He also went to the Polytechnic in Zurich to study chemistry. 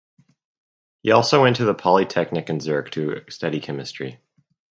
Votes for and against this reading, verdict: 2, 0, accepted